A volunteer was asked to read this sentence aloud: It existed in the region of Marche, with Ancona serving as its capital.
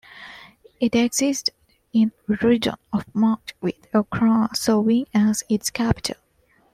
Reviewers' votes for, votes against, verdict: 2, 1, accepted